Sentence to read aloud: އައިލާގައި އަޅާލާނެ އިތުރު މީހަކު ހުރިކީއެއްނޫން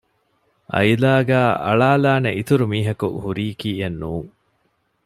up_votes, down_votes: 2, 0